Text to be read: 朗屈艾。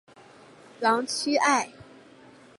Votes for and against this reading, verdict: 5, 0, accepted